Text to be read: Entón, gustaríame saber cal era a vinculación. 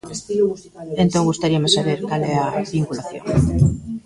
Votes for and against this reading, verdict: 0, 2, rejected